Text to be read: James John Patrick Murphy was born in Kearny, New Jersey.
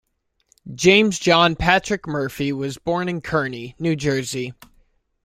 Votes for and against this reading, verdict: 2, 0, accepted